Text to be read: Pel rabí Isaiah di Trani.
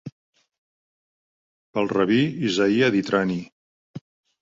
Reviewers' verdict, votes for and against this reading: accepted, 2, 0